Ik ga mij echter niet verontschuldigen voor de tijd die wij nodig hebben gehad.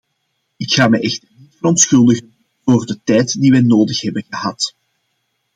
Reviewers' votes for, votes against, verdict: 0, 2, rejected